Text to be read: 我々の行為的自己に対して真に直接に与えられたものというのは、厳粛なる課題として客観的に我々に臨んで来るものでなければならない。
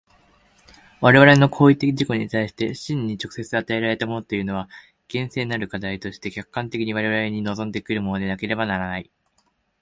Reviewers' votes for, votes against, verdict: 1, 2, rejected